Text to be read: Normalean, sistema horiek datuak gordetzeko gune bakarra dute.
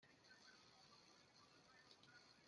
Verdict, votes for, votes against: rejected, 0, 2